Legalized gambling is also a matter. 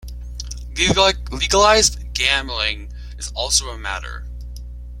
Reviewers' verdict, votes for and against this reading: rejected, 1, 2